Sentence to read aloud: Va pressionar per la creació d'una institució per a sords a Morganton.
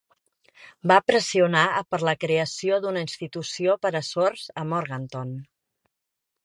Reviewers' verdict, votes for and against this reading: rejected, 0, 2